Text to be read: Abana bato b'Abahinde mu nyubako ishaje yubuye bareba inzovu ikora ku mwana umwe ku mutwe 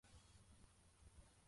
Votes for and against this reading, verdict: 0, 2, rejected